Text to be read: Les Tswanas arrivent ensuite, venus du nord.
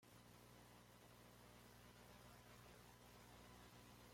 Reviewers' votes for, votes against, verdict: 0, 2, rejected